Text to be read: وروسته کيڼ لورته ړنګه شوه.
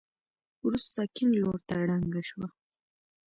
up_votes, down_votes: 2, 0